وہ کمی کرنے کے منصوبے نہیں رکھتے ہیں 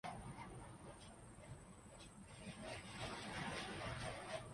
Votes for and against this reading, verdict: 0, 4, rejected